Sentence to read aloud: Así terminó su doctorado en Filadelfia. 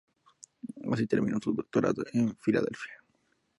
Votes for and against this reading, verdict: 0, 2, rejected